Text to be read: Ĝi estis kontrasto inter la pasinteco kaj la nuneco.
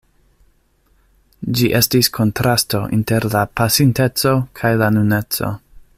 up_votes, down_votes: 2, 0